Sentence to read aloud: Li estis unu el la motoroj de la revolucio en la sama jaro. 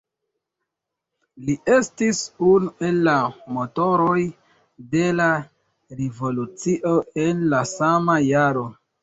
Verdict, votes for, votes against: rejected, 1, 2